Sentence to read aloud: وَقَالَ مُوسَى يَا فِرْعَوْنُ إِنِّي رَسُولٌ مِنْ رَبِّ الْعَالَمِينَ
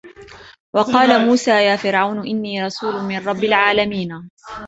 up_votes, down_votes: 0, 2